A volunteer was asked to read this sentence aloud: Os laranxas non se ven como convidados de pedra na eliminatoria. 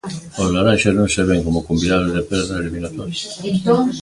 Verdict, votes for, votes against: rejected, 1, 2